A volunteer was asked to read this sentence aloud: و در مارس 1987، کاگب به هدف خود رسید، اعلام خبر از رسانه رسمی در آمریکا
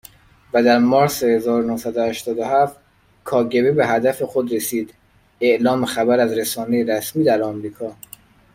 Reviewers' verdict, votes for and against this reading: rejected, 0, 2